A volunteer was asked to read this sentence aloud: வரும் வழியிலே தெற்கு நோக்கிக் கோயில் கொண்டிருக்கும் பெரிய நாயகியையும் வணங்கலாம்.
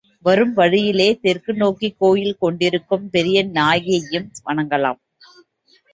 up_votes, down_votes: 2, 0